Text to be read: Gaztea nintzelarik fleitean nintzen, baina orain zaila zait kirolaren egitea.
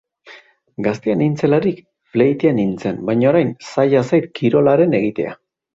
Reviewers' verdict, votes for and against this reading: accepted, 3, 0